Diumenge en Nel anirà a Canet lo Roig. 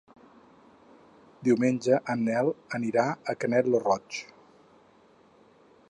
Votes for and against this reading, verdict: 4, 0, accepted